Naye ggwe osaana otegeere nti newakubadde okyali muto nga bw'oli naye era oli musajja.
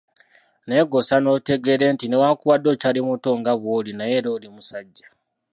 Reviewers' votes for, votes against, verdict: 1, 2, rejected